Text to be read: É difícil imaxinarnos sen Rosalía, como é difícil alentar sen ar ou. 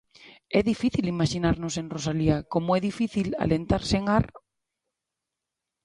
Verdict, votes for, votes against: rejected, 1, 2